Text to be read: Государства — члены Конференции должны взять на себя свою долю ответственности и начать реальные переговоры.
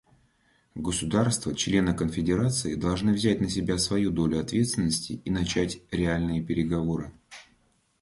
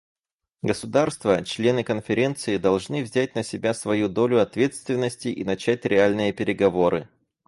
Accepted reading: second